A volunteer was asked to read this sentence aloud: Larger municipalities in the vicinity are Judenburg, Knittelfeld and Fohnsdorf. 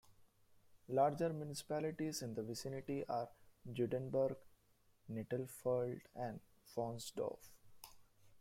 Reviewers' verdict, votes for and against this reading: rejected, 0, 2